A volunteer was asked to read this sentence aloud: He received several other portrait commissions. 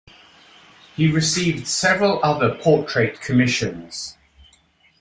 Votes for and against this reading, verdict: 2, 0, accepted